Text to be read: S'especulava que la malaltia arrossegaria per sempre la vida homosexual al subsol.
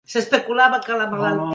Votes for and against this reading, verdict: 1, 2, rejected